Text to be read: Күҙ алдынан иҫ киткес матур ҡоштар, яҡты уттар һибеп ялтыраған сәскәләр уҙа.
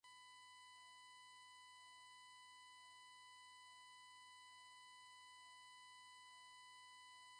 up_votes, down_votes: 1, 2